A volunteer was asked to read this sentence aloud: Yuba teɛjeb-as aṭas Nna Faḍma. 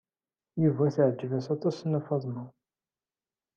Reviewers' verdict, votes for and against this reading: accepted, 2, 1